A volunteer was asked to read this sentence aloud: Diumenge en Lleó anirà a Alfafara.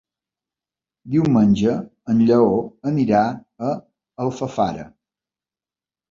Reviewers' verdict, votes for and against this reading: accepted, 6, 0